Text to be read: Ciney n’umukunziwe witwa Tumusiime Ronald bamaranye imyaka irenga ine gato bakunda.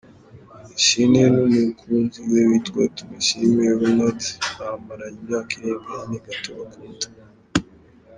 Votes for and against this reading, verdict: 1, 2, rejected